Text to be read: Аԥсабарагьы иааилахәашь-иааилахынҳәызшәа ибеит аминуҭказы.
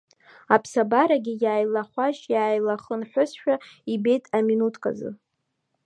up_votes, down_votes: 1, 2